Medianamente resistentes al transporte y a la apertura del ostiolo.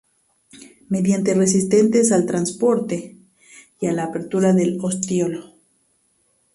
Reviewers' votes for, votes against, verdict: 0, 2, rejected